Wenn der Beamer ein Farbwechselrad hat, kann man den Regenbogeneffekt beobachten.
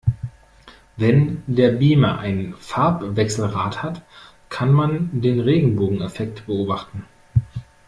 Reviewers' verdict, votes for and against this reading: rejected, 0, 2